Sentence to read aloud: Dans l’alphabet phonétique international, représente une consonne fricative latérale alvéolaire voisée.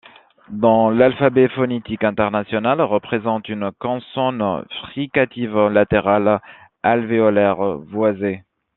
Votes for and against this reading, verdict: 2, 0, accepted